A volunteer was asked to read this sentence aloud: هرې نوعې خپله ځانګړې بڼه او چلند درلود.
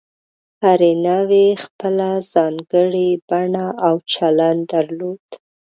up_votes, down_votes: 2, 0